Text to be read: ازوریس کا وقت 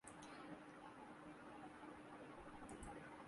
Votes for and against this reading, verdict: 0, 2, rejected